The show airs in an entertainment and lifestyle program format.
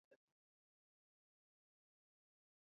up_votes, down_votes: 0, 2